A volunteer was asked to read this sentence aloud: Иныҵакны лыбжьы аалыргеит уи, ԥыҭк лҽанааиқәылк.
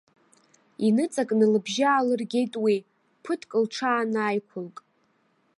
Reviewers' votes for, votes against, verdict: 0, 2, rejected